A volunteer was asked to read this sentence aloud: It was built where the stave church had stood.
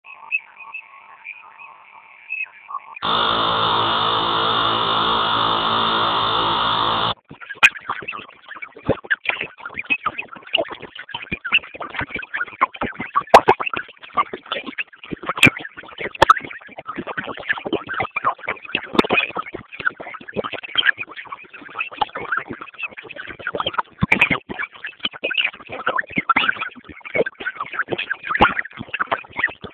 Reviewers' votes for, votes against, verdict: 0, 8, rejected